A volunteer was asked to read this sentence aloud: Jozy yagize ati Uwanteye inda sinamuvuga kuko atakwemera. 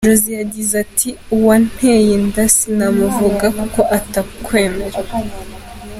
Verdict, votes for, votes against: accepted, 2, 0